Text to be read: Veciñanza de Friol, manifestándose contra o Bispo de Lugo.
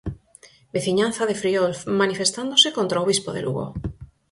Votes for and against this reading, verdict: 4, 0, accepted